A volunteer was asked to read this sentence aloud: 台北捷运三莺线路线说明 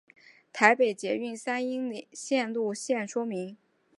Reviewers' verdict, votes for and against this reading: rejected, 1, 2